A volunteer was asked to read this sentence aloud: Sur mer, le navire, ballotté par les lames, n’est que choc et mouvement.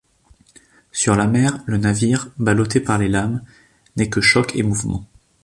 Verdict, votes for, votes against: rejected, 0, 2